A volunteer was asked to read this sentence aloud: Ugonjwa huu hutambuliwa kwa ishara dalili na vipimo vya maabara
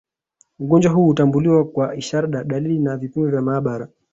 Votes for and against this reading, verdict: 6, 1, accepted